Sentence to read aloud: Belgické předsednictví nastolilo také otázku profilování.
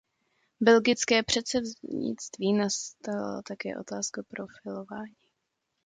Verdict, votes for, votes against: rejected, 0, 2